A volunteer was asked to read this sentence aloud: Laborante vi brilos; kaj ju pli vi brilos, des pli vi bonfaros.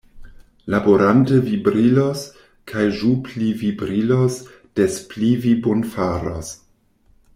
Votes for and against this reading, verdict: 1, 2, rejected